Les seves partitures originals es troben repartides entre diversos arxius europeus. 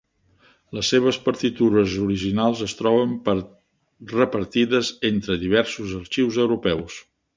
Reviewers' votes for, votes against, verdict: 1, 2, rejected